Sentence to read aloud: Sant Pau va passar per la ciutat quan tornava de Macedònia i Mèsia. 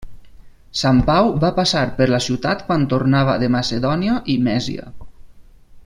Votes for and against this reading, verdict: 4, 0, accepted